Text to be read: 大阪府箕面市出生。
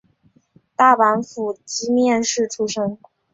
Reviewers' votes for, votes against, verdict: 2, 0, accepted